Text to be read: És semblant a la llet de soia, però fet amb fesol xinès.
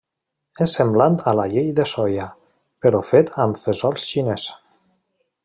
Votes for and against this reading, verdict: 2, 0, accepted